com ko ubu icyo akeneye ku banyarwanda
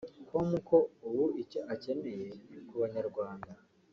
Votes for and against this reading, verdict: 2, 0, accepted